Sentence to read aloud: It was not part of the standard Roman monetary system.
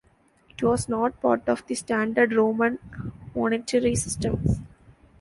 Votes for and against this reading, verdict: 2, 0, accepted